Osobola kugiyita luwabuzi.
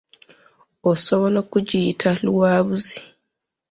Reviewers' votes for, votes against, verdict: 1, 2, rejected